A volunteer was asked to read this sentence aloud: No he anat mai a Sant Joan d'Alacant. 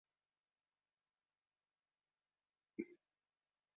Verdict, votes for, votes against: rejected, 0, 2